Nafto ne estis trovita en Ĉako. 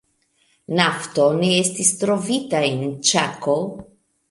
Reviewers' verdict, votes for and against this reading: accepted, 2, 0